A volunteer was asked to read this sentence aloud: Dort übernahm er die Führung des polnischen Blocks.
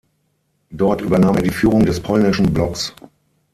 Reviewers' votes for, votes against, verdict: 3, 6, rejected